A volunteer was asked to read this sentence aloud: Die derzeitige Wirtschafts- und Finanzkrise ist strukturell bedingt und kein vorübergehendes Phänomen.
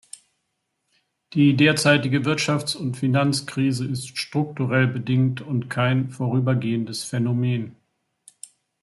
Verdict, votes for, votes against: accepted, 2, 0